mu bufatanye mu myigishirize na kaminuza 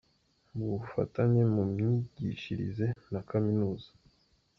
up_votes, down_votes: 1, 2